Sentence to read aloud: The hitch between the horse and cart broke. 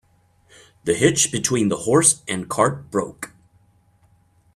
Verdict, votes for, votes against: accepted, 2, 0